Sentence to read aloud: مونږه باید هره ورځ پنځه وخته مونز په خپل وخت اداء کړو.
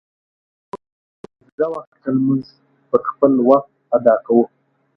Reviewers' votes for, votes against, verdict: 0, 2, rejected